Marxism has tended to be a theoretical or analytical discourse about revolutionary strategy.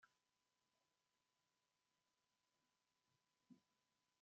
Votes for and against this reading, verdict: 0, 2, rejected